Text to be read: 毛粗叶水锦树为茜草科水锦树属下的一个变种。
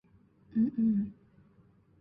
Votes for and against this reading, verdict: 1, 3, rejected